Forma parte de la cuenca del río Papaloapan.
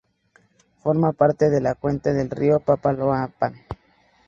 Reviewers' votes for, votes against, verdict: 0, 2, rejected